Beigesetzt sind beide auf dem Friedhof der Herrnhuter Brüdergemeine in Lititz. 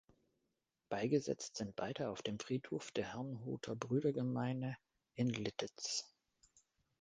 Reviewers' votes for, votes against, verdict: 1, 2, rejected